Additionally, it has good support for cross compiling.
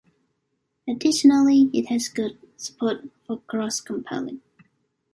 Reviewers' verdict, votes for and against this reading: rejected, 0, 2